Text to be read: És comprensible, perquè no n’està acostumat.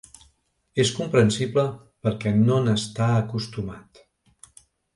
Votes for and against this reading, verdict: 3, 0, accepted